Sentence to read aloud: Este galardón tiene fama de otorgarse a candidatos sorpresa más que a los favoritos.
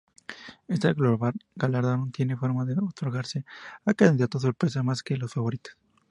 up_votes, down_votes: 0, 2